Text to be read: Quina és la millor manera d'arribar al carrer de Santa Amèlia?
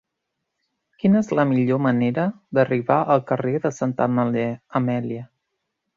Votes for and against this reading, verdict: 0, 2, rejected